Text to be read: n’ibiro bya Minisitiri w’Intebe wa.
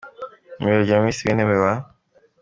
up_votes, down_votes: 2, 1